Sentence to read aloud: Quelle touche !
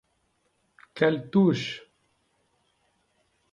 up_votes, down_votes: 2, 0